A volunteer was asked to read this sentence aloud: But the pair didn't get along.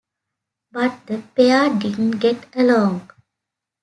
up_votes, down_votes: 2, 0